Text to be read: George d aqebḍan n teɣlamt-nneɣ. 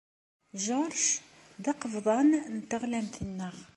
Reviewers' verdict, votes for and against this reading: accepted, 2, 0